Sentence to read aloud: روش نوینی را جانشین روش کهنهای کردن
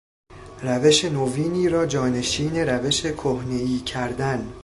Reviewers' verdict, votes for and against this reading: accepted, 2, 0